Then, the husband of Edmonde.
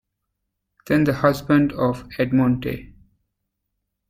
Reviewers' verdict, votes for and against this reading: accepted, 2, 1